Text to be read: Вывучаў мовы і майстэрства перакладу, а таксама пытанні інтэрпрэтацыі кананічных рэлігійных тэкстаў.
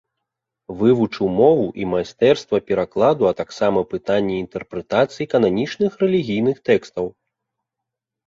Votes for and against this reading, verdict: 1, 2, rejected